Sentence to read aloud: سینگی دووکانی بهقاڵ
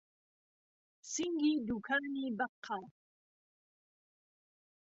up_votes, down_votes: 0, 2